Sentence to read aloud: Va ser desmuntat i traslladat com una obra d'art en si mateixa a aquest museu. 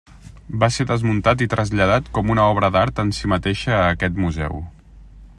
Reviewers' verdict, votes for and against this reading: accepted, 3, 0